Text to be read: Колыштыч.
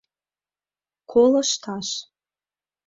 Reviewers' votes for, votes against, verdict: 0, 2, rejected